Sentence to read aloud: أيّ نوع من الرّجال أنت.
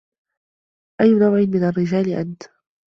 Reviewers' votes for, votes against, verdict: 2, 0, accepted